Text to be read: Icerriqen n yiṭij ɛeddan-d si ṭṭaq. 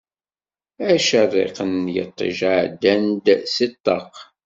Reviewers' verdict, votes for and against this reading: rejected, 1, 2